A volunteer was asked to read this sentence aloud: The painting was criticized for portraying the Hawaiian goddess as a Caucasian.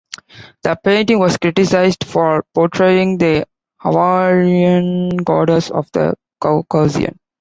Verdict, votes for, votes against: rejected, 0, 2